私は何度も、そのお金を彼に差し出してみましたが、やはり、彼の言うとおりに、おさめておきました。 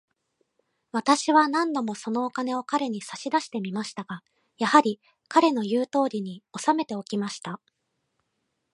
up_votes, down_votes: 2, 0